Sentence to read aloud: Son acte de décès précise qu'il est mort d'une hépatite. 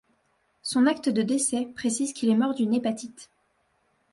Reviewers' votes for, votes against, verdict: 2, 0, accepted